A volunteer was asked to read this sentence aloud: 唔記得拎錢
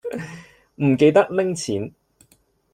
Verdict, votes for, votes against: accepted, 2, 0